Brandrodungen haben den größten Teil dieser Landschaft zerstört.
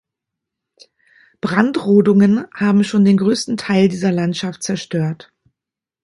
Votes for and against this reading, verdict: 0, 2, rejected